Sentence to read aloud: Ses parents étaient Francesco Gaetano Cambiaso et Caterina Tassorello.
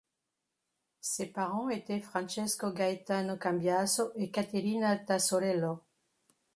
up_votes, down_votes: 2, 0